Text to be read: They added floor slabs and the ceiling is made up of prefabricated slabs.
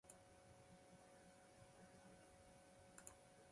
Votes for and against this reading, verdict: 0, 2, rejected